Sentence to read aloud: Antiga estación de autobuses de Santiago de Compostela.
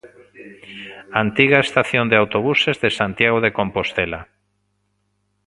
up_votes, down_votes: 2, 1